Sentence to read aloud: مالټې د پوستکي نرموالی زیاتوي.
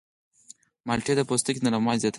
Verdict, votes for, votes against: accepted, 4, 0